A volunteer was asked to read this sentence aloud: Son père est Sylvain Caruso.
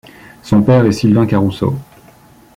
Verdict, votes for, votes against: accepted, 2, 0